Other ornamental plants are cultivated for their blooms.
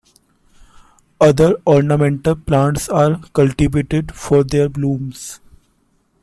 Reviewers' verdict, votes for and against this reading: accepted, 2, 1